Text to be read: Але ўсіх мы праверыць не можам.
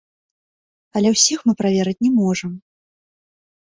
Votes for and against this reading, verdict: 2, 1, accepted